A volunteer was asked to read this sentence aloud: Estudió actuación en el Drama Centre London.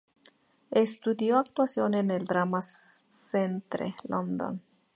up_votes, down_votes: 2, 0